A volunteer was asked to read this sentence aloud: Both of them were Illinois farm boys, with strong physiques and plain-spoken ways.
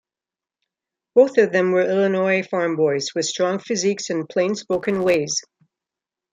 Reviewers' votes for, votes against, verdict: 3, 0, accepted